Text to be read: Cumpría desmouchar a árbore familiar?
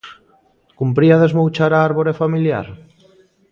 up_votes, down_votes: 1, 2